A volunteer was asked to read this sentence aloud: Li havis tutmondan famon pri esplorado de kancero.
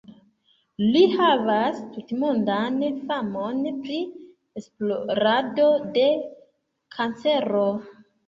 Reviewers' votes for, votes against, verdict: 0, 2, rejected